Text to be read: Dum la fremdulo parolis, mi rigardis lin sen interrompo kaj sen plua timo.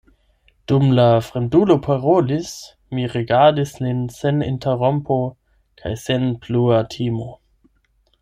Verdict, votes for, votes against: rejected, 0, 8